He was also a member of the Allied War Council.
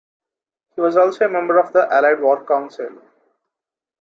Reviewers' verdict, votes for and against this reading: accepted, 2, 0